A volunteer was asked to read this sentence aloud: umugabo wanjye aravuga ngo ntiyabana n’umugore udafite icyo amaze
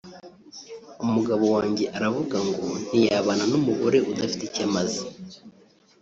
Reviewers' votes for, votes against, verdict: 0, 2, rejected